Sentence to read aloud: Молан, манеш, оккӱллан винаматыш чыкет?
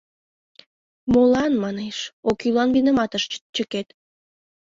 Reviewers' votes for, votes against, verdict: 1, 2, rejected